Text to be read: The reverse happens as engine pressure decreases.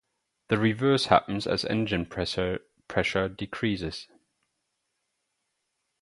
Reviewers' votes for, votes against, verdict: 2, 2, rejected